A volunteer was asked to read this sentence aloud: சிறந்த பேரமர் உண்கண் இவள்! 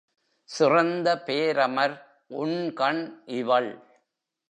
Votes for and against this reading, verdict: 0, 2, rejected